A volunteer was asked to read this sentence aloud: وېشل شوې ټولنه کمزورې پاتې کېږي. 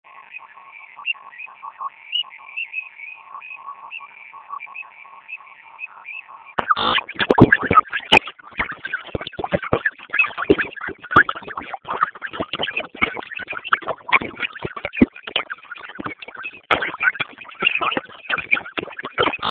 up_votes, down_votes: 0, 2